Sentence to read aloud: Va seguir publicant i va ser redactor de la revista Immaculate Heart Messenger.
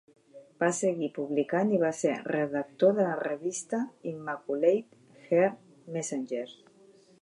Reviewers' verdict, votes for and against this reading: rejected, 1, 2